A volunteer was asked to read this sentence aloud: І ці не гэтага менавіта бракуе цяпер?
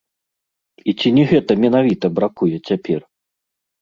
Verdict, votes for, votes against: rejected, 1, 2